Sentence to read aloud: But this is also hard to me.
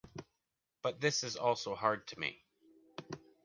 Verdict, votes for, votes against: accepted, 2, 0